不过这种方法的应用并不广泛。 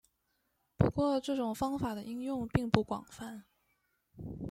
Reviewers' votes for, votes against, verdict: 1, 2, rejected